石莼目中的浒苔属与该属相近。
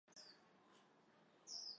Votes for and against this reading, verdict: 2, 3, rejected